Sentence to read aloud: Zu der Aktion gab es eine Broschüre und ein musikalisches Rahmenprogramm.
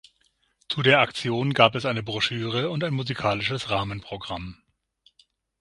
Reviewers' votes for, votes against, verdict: 6, 0, accepted